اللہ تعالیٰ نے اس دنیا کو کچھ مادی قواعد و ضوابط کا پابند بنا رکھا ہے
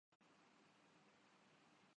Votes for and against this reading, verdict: 0, 2, rejected